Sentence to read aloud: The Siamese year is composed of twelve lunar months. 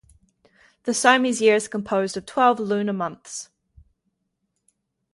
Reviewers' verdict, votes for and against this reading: rejected, 2, 2